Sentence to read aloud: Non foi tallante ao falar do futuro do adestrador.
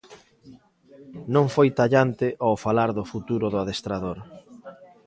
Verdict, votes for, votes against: rejected, 1, 2